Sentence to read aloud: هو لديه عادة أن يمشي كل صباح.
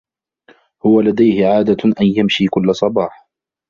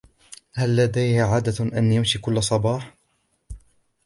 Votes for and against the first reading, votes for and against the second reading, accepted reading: 2, 1, 1, 2, first